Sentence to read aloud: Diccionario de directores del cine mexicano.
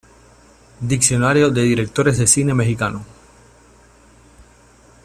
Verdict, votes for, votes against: accepted, 2, 0